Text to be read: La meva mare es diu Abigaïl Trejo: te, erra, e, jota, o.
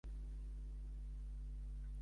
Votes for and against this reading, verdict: 1, 2, rejected